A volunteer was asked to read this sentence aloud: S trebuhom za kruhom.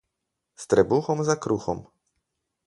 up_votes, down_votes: 4, 0